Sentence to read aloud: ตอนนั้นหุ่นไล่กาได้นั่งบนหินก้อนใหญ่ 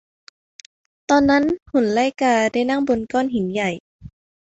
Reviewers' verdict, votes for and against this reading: rejected, 0, 2